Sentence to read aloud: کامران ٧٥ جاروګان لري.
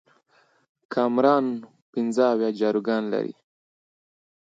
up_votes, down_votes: 0, 2